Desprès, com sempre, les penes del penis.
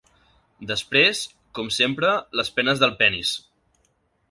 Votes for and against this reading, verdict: 5, 0, accepted